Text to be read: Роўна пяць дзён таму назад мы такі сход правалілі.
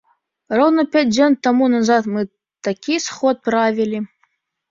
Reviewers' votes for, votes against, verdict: 0, 2, rejected